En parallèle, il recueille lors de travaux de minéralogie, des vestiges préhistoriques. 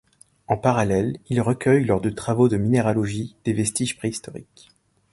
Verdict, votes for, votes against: accepted, 2, 0